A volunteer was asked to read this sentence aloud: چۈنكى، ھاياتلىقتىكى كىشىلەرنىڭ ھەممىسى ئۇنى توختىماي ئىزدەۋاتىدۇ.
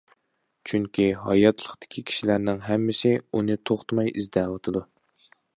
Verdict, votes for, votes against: accepted, 2, 0